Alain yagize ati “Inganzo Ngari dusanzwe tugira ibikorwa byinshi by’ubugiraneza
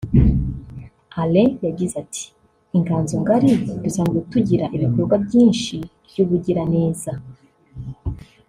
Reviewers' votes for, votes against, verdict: 1, 2, rejected